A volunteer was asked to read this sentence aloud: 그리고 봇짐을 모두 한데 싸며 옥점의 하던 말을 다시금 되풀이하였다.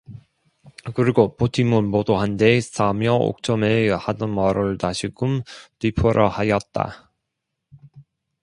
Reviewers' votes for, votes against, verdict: 1, 2, rejected